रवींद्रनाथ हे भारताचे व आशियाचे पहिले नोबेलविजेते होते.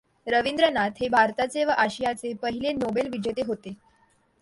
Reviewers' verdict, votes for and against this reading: accepted, 2, 0